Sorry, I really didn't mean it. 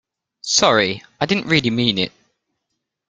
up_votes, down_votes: 1, 2